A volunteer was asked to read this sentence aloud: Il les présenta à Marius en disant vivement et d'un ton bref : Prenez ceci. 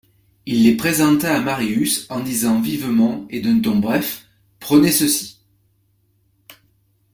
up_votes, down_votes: 2, 0